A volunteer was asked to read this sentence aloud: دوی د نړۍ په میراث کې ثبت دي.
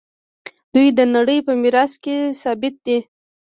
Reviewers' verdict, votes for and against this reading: rejected, 1, 2